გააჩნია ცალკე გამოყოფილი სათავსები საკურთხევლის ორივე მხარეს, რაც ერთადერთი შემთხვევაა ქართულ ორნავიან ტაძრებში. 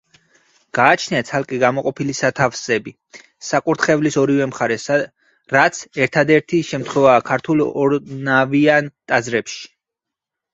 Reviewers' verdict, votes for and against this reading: rejected, 2, 8